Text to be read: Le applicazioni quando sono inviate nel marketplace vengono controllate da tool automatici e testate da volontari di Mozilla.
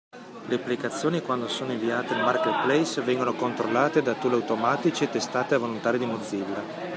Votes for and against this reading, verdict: 2, 1, accepted